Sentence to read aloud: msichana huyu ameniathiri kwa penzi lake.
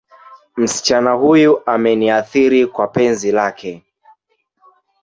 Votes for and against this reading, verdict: 1, 2, rejected